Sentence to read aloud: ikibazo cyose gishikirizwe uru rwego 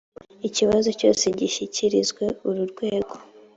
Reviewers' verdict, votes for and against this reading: accepted, 2, 0